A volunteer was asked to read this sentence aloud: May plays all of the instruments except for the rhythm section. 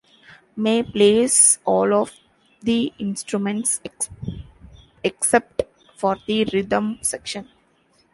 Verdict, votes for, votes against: rejected, 0, 2